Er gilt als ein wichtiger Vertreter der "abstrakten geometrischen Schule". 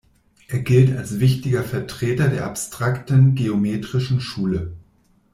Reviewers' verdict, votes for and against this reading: rejected, 0, 2